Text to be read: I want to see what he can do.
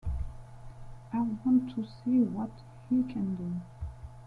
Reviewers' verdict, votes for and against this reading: accepted, 2, 0